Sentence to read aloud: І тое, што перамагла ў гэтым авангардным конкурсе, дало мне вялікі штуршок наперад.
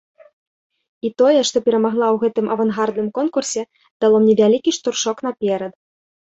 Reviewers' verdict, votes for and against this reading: accepted, 2, 0